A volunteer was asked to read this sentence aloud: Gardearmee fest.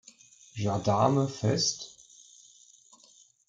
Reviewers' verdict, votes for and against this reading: rejected, 1, 2